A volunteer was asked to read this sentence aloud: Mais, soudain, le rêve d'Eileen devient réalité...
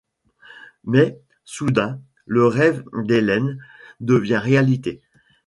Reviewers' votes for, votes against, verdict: 1, 2, rejected